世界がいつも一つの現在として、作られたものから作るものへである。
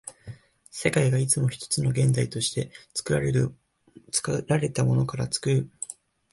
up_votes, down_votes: 1, 2